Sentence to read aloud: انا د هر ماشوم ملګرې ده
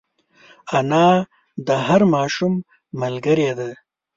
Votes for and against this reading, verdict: 2, 0, accepted